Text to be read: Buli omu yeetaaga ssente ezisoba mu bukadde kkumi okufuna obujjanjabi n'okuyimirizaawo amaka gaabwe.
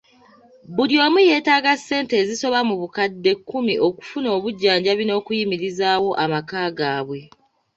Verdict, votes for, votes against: accepted, 2, 0